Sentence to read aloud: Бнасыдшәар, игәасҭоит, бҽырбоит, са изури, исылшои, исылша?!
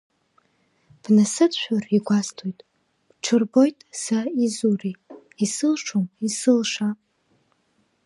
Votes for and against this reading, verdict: 0, 2, rejected